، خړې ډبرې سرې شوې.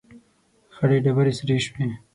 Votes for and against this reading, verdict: 6, 0, accepted